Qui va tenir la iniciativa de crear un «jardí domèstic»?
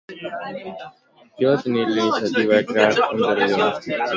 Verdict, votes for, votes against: rejected, 0, 2